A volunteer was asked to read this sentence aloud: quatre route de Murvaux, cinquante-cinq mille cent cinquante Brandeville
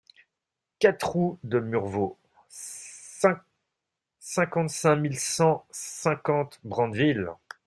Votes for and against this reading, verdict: 0, 2, rejected